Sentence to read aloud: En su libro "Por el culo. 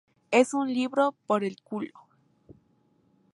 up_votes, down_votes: 2, 2